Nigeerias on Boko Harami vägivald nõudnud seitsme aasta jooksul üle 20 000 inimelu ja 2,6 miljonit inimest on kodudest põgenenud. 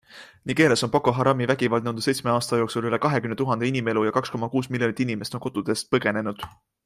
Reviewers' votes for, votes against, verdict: 0, 2, rejected